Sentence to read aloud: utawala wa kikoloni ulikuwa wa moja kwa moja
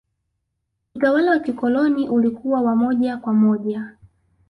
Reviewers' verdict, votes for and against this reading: accepted, 2, 0